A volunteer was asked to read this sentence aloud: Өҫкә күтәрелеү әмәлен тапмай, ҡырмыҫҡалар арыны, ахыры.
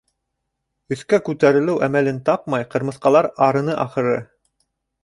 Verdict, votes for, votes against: rejected, 1, 2